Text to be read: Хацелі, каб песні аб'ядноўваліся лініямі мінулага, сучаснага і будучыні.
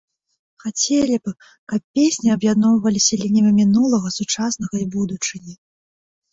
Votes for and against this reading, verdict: 1, 2, rejected